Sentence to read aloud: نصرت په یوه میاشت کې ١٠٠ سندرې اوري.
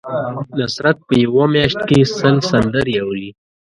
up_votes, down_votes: 0, 2